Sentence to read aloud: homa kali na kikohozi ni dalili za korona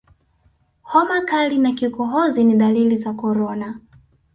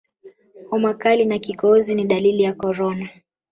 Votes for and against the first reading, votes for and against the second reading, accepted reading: 3, 0, 0, 2, first